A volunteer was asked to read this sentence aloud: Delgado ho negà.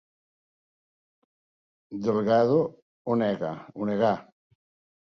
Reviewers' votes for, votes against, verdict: 1, 2, rejected